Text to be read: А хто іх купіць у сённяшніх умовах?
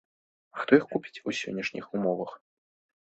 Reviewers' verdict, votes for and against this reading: accepted, 2, 0